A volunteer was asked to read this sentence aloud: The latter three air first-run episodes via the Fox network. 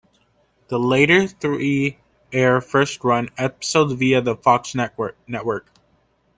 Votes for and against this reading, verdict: 0, 2, rejected